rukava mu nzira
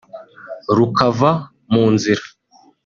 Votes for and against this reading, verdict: 2, 0, accepted